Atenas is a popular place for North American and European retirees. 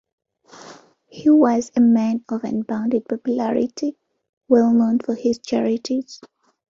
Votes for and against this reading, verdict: 0, 2, rejected